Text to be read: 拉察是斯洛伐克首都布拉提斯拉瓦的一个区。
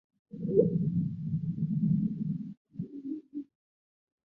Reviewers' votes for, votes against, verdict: 0, 2, rejected